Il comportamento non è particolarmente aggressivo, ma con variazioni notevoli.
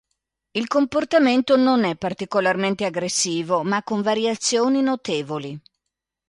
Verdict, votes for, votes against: accepted, 2, 0